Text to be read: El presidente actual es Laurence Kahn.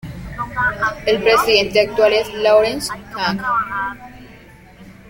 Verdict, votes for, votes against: rejected, 0, 2